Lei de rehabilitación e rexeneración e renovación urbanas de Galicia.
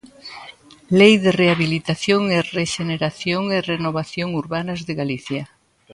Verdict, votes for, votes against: accepted, 4, 0